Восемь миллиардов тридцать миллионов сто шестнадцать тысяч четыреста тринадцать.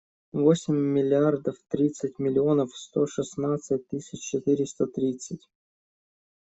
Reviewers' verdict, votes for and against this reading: rejected, 0, 2